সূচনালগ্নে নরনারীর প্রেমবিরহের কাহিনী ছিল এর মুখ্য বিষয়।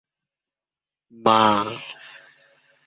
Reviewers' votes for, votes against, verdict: 0, 2, rejected